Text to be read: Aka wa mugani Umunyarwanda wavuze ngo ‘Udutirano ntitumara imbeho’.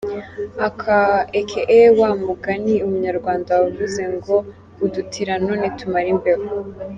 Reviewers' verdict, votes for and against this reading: rejected, 0, 2